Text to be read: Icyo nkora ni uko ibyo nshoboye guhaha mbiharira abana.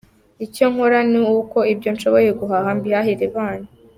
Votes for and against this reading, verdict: 2, 0, accepted